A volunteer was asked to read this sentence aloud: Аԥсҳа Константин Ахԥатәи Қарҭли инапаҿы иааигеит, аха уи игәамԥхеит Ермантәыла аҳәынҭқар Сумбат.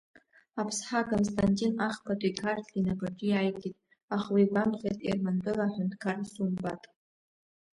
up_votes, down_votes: 2, 1